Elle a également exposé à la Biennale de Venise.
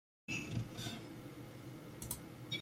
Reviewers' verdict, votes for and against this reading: rejected, 0, 2